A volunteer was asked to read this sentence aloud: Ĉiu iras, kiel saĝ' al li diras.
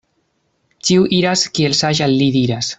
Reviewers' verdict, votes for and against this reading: rejected, 1, 2